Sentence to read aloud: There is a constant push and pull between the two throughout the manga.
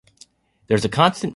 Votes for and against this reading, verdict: 0, 2, rejected